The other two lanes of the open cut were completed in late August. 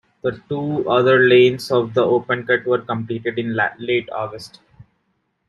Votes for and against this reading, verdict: 0, 2, rejected